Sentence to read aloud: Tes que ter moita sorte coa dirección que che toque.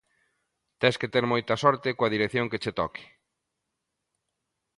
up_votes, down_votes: 2, 0